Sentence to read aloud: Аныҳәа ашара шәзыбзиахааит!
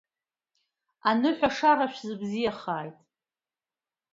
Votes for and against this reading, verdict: 2, 0, accepted